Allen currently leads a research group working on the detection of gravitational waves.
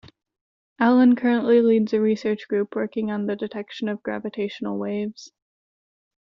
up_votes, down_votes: 2, 0